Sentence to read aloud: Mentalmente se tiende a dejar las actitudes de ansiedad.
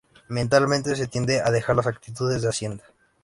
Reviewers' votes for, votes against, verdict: 0, 2, rejected